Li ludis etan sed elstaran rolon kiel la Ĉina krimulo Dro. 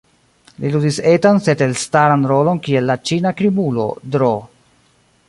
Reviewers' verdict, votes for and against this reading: rejected, 0, 2